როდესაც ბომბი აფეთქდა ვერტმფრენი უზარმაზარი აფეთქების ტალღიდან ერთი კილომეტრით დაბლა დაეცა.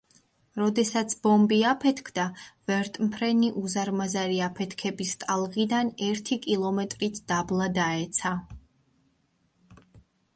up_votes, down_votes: 2, 0